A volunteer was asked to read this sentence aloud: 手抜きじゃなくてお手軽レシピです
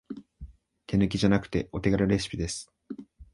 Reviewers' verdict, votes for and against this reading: accepted, 3, 0